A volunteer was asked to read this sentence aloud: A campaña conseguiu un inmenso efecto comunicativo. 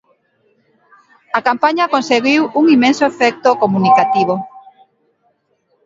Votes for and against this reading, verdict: 2, 0, accepted